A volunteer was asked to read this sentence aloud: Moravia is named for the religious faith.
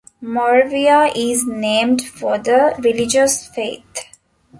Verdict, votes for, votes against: accepted, 2, 1